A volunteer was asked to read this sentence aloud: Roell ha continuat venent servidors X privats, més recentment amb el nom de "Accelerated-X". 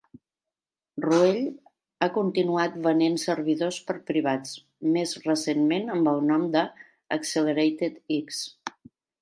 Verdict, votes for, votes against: rejected, 1, 2